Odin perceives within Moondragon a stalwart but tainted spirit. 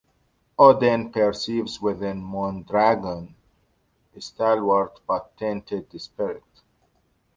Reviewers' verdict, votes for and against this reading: accepted, 2, 0